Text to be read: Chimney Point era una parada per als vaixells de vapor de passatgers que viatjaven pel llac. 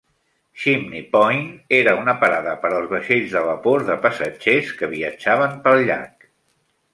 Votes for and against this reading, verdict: 2, 0, accepted